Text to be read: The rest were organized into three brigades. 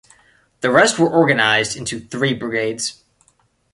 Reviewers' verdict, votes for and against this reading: accepted, 2, 0